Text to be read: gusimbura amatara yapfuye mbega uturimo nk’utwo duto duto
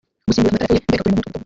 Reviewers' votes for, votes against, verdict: 0, 2, rejected